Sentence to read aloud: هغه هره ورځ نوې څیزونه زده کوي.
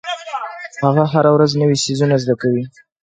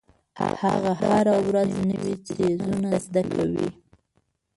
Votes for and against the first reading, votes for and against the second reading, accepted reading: 2, 0, 0, 2, first